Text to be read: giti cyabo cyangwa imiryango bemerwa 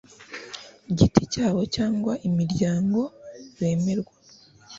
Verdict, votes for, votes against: rejected, 0, 2